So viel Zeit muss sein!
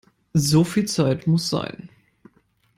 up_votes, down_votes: 2, 0